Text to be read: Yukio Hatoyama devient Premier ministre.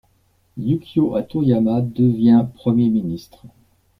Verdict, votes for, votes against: rejected, 1, 2